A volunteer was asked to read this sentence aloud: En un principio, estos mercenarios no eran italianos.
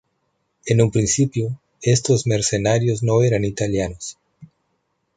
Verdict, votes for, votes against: accepted, 2, 0